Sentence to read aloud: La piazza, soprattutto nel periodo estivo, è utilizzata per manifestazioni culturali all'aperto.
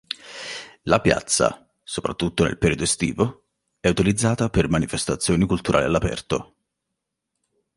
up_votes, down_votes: 2, 0